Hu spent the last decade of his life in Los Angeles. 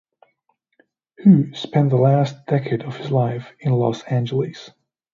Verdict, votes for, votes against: accepted, 2, 0